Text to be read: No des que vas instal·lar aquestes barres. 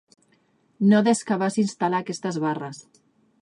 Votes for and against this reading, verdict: 2, 1, accepted